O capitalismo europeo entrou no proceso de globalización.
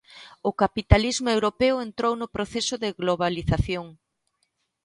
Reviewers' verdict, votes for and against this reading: accepted, 2, 0